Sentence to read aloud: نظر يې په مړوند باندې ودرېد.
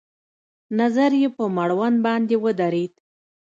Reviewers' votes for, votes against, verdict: 2, 0, accepted